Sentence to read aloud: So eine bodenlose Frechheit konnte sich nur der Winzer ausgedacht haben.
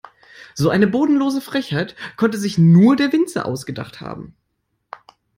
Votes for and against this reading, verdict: 2, 0, accepted